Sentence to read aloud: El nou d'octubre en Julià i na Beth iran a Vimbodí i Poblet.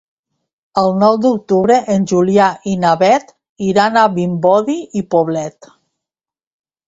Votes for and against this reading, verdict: 0, 2, rejected